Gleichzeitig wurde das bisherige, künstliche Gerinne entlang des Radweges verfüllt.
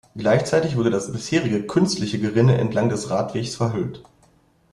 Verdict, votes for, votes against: rejected, 0, 2